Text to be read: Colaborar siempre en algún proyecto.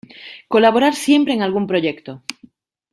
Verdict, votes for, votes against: accepted, 2, 0